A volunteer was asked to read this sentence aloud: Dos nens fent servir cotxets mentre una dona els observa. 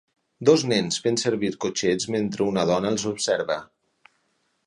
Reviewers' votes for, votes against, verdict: 8, 0, accepted